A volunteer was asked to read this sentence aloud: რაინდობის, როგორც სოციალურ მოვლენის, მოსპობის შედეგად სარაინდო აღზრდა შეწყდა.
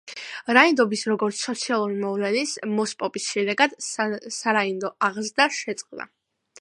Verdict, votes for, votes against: accepted, 2, 0